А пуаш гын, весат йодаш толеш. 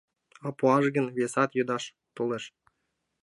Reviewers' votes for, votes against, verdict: 2, 0, accepted